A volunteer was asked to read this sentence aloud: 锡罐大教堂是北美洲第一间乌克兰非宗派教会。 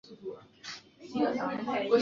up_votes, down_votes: 1, 4